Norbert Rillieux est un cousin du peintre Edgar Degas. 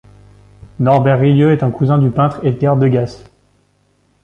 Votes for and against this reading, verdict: 2, 1, accepted